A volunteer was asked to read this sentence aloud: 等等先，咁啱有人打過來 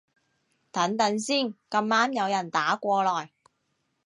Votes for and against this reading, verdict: 2, 0, accepted